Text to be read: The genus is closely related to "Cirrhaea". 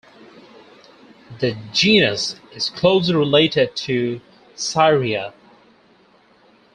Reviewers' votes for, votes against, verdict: 0, 2, rejected